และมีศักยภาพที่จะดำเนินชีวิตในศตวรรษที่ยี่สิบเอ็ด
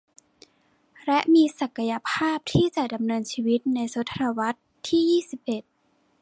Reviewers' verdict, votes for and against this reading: rejected, 1, 2